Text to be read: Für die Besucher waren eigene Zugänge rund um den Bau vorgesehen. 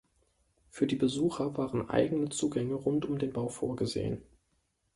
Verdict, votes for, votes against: accepted, 2, 0